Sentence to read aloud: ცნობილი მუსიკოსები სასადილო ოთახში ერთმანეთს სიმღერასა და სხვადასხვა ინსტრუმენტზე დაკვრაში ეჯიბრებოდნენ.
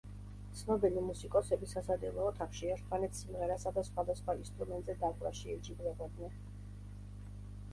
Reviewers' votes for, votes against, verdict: 2, 0, accepted